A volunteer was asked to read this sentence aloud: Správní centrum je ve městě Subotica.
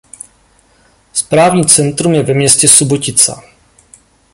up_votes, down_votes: 2, 0